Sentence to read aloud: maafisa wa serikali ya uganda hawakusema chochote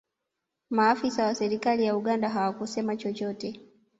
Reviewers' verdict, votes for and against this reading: accepted, 2, 0